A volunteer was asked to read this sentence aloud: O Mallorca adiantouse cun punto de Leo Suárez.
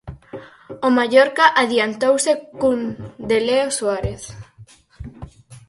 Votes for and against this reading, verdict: 0, 6, rejected